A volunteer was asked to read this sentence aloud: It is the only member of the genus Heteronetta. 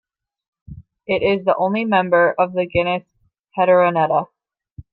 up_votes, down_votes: 1, 2